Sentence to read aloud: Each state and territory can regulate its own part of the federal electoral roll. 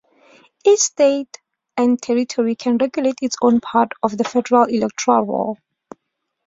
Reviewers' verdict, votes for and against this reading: accepted, 3, 0